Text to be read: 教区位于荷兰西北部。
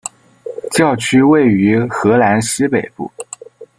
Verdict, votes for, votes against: accepted, 2, 0